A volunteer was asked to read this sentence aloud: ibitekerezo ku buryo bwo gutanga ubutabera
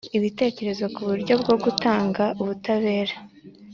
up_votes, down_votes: 2, 0